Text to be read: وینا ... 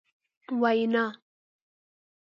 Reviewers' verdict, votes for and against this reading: accepted, 2, 0